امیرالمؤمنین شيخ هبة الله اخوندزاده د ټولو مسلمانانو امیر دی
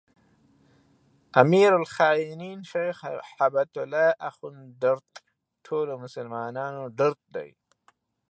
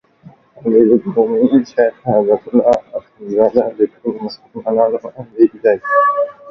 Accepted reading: second